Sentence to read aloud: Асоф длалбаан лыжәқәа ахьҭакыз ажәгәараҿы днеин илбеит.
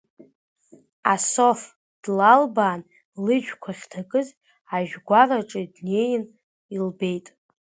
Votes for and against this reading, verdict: 2, 1, accepted